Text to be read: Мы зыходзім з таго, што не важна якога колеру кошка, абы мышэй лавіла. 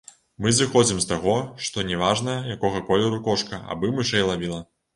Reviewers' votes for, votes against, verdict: 2, 0, accepted